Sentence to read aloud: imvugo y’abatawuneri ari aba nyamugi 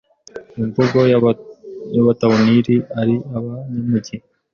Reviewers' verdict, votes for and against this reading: rejected, 1, 2